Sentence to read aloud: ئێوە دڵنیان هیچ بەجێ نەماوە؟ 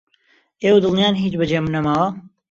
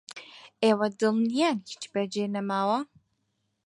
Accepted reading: second